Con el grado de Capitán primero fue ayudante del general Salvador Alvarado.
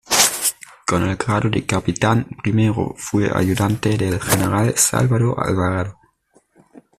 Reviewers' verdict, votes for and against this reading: rejected, 0, 2